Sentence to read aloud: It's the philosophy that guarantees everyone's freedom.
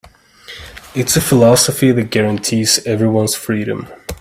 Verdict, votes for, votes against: accepted, 2, 1